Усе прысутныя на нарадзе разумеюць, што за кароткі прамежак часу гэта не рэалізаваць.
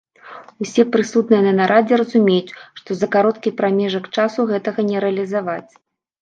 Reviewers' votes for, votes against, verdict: 1, 2, rejected